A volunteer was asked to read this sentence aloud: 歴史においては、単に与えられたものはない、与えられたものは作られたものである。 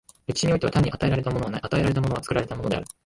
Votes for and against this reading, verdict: 0, 2, rejected